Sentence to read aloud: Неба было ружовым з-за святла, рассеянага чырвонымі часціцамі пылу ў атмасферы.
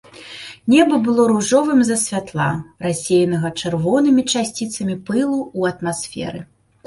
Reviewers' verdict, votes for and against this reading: accepted, 2, 0